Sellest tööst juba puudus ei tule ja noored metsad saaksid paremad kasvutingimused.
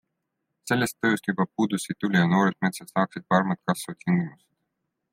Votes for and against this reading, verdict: 2, 0, accepted